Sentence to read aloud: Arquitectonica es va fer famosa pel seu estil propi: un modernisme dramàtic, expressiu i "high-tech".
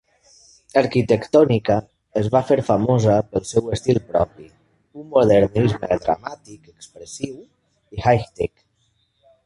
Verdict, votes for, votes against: rejected, 0, 2